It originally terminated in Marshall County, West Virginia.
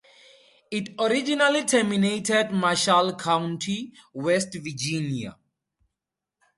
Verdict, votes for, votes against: rejected, 0, 4